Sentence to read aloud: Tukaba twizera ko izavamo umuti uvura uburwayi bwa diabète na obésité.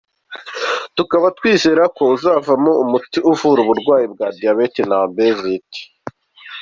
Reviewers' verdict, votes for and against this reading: accepted, 2, 0